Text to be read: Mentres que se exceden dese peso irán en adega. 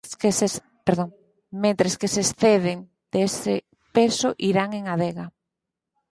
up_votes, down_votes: 2, 4